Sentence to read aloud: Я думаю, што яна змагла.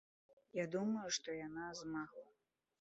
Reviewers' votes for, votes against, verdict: 1, 2, rejected